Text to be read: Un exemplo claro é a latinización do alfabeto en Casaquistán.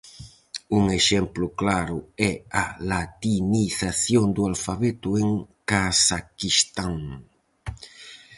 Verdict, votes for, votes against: rejected, 0, 4